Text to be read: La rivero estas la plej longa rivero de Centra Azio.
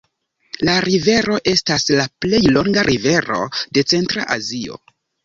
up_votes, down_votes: 2, 0